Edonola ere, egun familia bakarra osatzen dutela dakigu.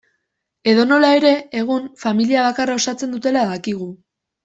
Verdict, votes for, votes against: accepted, 2, 0